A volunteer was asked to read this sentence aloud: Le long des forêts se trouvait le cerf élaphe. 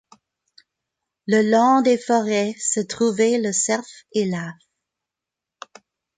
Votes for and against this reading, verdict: 1, 2, rejected